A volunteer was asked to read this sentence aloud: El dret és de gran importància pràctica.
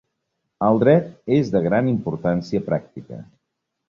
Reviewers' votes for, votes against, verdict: 3, 0, accepted